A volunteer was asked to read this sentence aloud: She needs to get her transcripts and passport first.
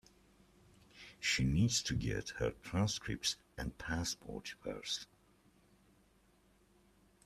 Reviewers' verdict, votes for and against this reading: accepted, 2, 0